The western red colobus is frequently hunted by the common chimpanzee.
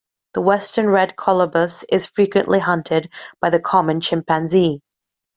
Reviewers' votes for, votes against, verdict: 2, 0, accepted